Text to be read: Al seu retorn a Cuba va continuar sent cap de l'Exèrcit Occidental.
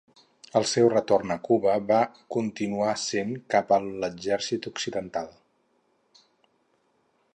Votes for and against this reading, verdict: 0, 4, rejected